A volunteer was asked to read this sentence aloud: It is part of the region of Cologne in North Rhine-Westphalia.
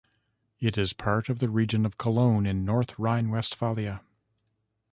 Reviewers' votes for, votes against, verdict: 0, 2, rejected